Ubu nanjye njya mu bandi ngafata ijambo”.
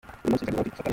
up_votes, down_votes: 0, 2